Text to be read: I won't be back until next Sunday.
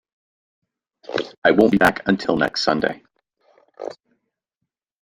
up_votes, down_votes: 0, 2